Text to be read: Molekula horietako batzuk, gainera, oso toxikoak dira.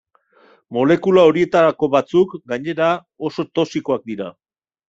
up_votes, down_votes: 0, 2